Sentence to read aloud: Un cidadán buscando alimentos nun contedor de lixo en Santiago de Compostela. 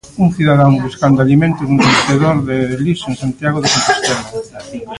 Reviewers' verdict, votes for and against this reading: rejected, 0, 2